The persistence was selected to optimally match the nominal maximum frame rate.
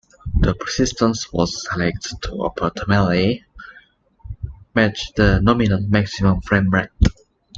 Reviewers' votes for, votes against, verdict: 2, 0, accepted